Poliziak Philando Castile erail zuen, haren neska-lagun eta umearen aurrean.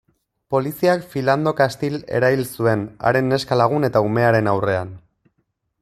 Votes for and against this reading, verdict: 2, 0, accepted